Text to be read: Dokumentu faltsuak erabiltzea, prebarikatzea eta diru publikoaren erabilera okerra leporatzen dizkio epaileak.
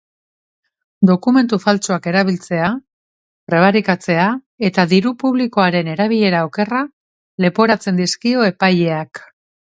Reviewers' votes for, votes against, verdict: 2, 0, accepted